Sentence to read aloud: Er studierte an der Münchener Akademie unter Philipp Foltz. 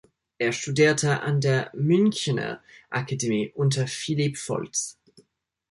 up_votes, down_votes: 2, 0